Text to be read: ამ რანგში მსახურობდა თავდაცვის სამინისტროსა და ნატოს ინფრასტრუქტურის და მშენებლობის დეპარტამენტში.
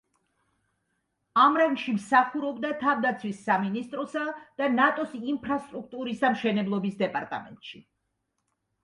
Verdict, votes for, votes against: accepted, 2, 0